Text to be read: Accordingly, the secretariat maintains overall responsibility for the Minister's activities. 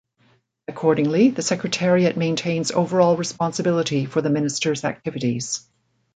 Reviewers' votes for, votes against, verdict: 2, 0, accepted